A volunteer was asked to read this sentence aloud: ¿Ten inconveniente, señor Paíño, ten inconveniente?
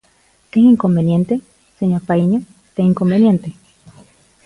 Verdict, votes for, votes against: accepted, 2, 0